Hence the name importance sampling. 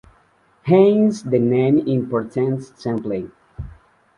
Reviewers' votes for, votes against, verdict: 2, 0, accepted